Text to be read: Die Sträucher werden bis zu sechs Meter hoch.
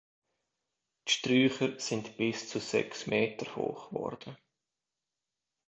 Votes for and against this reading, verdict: 0, 2, rejected